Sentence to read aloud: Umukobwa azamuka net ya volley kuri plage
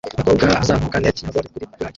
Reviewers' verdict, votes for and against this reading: rejected, 1, 2